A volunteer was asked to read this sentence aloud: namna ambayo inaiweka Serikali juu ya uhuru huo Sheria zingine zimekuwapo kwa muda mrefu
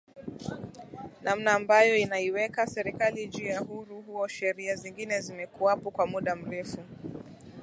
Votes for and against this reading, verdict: 18, 2, accepted